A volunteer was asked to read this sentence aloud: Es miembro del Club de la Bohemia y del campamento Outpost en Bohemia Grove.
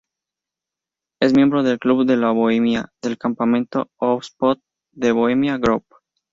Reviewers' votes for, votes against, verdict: 0, 2, rejected